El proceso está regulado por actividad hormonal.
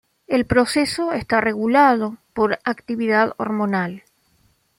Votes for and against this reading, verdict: 2, 0, accepted